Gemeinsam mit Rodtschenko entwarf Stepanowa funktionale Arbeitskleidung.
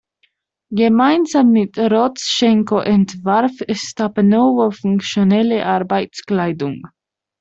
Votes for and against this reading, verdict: 0, 2, rejected